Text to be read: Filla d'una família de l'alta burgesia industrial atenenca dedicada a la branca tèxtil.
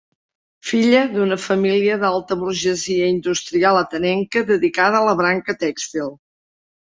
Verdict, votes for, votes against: rejected, 1, 2